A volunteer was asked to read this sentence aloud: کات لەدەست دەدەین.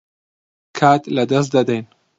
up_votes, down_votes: 2, 0